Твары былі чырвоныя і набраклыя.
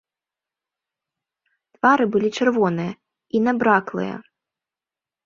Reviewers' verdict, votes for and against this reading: accepted, 2, 0